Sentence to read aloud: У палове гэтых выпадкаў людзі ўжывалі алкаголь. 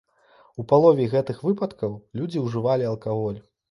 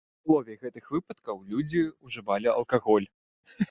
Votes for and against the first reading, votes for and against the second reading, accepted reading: 2, 0, 0, 2, first